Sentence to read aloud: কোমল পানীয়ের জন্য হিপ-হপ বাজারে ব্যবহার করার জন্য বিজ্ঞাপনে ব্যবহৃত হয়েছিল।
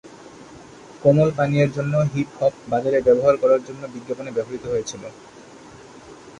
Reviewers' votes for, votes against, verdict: 0, 2, rejected